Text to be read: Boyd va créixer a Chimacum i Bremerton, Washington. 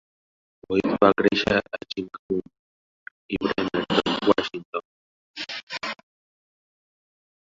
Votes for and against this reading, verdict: 0, 2, rejected